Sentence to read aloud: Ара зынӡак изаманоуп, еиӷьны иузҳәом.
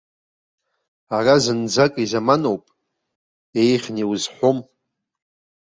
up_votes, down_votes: 3, 0